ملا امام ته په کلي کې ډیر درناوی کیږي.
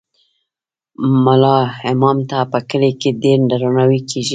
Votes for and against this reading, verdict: 1, 2, rejected